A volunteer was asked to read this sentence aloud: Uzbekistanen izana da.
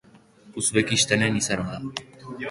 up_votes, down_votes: 4, 0